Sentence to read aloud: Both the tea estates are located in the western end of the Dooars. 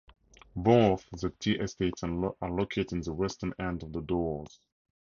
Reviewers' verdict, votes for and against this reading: rejected, 0, 4